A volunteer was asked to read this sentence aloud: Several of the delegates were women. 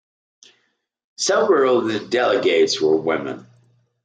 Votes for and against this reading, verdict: 2, 0, accepted